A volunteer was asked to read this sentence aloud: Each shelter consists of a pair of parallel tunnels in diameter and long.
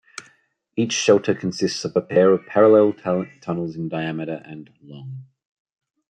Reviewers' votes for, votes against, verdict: 1, 2, rejected